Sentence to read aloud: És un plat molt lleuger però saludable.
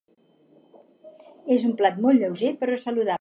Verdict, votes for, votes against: rejected, 0, 4